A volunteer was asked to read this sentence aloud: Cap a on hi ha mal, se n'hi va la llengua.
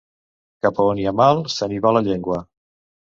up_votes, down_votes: 3, 0